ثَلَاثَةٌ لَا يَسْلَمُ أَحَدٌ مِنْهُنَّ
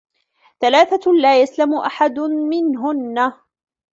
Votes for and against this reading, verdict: 2, 1, accepted